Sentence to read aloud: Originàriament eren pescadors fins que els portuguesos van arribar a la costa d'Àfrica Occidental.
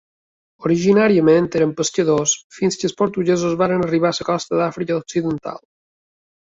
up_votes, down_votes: 1, 2